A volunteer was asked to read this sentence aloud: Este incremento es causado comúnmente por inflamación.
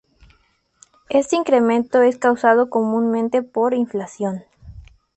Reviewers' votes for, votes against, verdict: 0, 2, rejected